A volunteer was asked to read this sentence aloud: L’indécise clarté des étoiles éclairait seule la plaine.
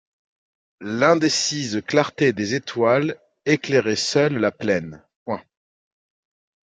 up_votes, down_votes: 2, 1